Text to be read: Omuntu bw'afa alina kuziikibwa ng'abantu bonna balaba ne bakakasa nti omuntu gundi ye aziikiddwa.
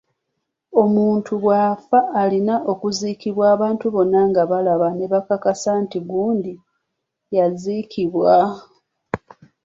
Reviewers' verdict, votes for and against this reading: rejected, 0, 2